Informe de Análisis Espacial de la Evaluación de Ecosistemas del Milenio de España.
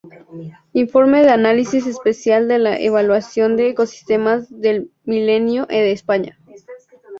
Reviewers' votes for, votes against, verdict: 0, 2, rejected